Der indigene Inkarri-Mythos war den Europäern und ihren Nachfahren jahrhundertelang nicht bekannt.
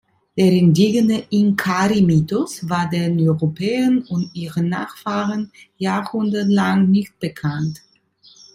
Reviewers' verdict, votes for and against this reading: rejected, 0, 3